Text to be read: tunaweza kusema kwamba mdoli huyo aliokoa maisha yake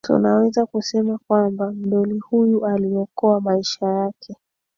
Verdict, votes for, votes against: accepted, 2, 0